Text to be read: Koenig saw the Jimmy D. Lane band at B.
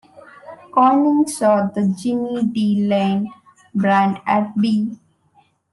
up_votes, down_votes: 2, 0